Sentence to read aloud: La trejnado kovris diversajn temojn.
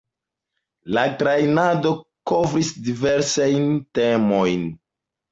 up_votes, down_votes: 1, 2